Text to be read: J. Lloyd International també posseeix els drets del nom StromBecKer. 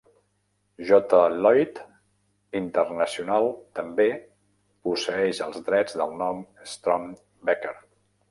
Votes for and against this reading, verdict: 1, 2, rejected